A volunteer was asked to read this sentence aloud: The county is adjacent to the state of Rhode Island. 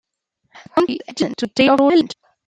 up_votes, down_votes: 0, 2